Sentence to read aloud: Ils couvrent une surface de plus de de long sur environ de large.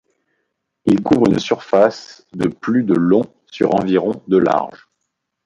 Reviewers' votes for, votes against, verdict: 0, 2, rejected